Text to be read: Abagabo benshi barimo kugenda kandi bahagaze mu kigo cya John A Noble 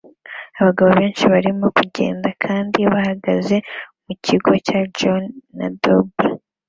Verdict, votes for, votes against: accepted, 2, 0